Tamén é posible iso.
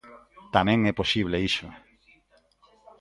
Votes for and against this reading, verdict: 2, 0, accepted